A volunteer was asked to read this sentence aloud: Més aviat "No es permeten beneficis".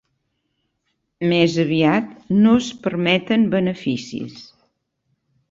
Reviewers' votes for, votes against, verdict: 3, 0, accepted